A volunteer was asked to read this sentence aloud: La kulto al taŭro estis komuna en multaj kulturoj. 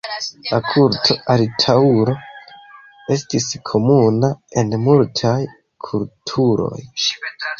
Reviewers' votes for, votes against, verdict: 2, 1, accepted